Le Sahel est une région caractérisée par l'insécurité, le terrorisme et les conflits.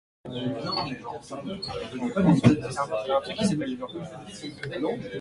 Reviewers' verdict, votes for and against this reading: rejected, 0, 2